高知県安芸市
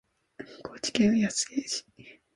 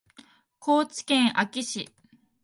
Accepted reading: second